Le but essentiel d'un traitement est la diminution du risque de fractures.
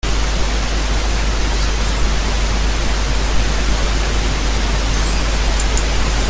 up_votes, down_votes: 0, 2